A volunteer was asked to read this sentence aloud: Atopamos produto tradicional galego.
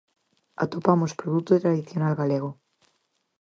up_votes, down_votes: 4, 0